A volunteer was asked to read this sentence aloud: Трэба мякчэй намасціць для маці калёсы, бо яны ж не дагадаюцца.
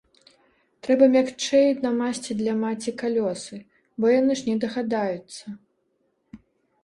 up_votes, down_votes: 1, 2